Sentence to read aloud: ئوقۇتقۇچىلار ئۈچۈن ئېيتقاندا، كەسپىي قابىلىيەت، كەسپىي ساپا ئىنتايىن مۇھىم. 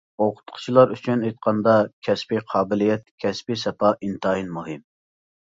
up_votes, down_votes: 2, 0